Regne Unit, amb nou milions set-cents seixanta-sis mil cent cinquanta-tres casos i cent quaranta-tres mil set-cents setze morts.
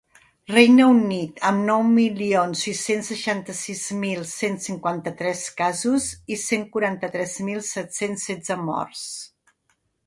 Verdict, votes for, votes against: rejected, 1, 2